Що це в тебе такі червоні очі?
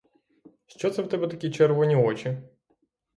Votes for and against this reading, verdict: 3, 0, accepted